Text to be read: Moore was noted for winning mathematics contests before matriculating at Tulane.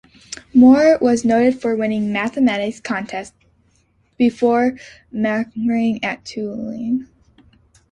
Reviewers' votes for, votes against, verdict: 0, 2, rejected